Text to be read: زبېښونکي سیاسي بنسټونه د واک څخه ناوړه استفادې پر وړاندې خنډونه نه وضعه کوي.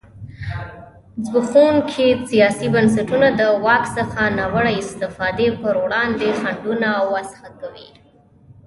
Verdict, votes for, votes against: accepted, 2, 0